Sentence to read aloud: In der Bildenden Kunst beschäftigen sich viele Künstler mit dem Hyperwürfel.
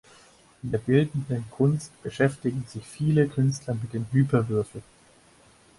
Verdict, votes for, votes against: accepted, 4, 0